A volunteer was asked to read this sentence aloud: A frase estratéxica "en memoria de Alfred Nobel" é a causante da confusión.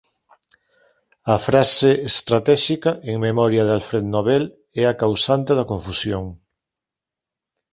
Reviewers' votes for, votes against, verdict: 2, 0, accepted